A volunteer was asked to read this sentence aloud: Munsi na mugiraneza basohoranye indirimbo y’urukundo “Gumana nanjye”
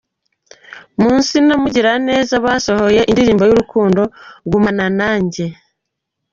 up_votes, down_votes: 1, 2